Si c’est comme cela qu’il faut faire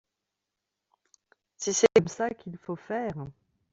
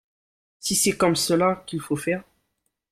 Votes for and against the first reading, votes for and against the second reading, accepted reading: 0, 4, 2, 0, second